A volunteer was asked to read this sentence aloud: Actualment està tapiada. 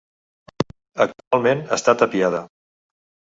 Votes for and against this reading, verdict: 1, 2, rejected